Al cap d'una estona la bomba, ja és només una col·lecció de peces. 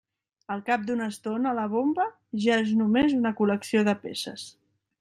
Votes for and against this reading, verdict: 3, 0, accepted